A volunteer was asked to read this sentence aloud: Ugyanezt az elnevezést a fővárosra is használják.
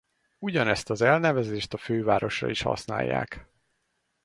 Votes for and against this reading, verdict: 4, 0, accepted